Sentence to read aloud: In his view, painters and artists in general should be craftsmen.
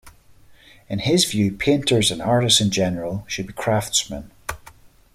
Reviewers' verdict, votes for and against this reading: accepted, 2, 0